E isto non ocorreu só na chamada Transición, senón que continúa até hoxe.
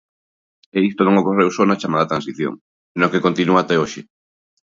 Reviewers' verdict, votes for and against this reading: rejected, 1, 2